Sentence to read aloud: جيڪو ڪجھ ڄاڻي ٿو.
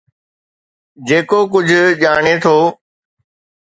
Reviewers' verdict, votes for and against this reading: accepted, 2, 0